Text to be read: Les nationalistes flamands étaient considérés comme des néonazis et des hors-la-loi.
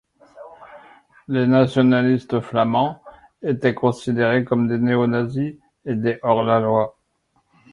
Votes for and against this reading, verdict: 2, 0, accepted